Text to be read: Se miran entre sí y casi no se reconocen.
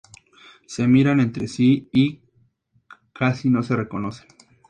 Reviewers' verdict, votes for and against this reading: accepted, 2, 0